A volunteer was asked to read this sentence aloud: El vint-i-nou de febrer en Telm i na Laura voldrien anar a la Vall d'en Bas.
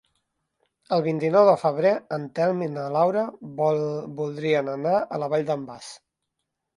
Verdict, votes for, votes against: rejected, 1, 2